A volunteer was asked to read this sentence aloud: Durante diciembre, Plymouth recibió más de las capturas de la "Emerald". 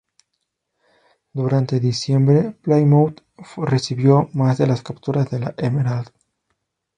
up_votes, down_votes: 0, 2